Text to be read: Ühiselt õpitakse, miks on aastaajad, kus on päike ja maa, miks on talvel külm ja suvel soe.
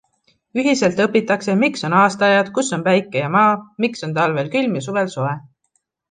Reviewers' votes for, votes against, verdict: 2, 0, accepted